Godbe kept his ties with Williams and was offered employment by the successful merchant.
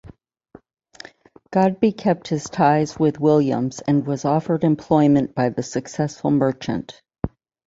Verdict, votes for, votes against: accepted, 2, 0